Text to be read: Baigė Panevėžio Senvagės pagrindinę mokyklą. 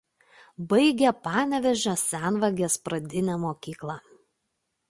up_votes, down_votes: 1, 2